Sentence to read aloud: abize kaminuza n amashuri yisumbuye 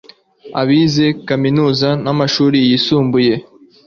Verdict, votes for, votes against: accepted, 2, 0